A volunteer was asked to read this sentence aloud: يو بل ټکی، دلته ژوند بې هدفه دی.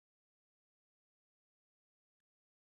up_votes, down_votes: 0, 2